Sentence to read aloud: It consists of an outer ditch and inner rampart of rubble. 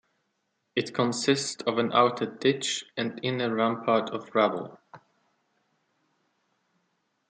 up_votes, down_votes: 2, 0